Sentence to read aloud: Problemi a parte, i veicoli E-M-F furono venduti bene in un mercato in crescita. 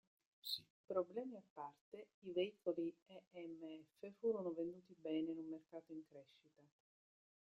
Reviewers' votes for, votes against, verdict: 1, 2, rejected